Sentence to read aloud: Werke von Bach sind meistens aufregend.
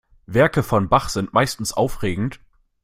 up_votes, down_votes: 2, 0